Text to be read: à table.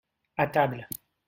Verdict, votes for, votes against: accepted, 2, 0